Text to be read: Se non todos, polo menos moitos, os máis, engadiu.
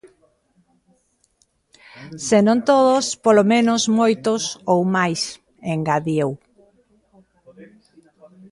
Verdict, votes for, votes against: rejected, 1, 3